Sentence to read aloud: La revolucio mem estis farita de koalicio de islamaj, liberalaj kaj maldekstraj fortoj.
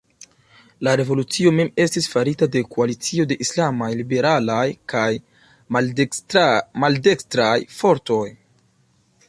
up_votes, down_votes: 0, 2